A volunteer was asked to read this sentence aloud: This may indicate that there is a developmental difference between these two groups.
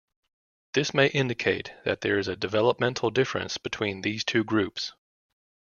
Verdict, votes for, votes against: accepted, 2, 0